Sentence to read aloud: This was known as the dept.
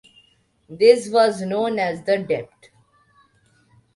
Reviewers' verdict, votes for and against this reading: rejected, 1, 2